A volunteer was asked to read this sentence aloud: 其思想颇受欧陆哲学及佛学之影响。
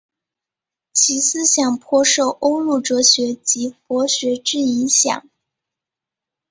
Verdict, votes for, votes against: rejected, 1, 2